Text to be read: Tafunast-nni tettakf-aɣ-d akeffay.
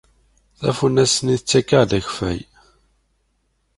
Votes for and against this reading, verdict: 2, 0, accepted